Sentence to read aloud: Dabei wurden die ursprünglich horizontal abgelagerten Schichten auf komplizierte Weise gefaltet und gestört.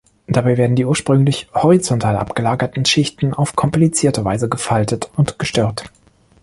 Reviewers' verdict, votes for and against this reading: rejected, 1, 2